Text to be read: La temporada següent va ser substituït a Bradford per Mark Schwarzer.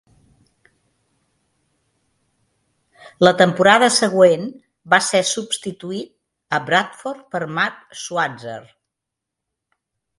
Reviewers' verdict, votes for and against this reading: accepted, 2, 0